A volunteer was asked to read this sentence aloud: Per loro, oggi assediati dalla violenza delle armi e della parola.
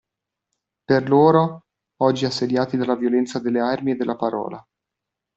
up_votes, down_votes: 2, 0